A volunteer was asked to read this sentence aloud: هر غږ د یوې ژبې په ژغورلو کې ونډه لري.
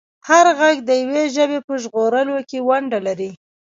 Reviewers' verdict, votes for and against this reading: rejected, 1, 2